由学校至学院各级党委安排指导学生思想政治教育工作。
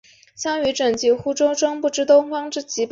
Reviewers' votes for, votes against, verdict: 0, 2, rejected